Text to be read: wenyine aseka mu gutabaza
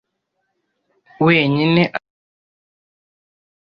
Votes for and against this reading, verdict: 0, 2, rejected